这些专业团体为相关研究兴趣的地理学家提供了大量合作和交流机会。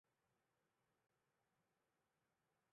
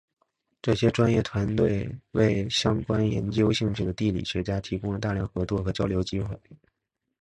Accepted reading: second